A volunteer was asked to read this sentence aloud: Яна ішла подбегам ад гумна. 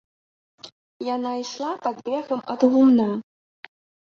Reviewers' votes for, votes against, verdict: 1, 2, rejected